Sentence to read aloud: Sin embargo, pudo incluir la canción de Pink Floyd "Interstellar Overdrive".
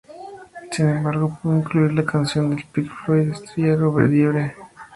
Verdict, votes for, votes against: rejected, 0, 2